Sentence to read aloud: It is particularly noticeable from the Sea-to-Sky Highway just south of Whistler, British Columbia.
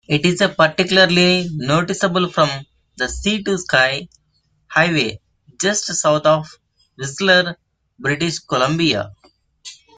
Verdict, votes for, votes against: accepted, 2, 1